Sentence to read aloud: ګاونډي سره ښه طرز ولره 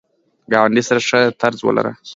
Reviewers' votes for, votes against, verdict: 2, 0, accepted